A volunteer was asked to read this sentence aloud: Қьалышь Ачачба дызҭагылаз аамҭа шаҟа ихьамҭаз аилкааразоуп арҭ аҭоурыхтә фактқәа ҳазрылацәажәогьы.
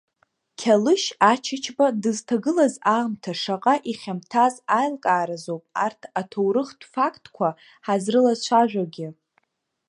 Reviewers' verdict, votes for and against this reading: accepted, 2, 0